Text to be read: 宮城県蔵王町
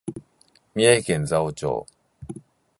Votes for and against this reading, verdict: 2, 0, accepted